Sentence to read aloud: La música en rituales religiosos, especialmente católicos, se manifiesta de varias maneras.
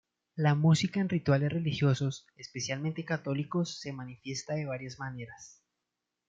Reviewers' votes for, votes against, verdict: 2, 0, accepted